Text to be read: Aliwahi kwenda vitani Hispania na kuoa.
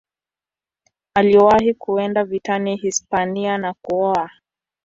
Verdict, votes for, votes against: accepted, 3, 0